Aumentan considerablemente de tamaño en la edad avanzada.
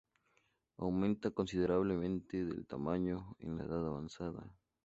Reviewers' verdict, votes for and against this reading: rejected, 2, 2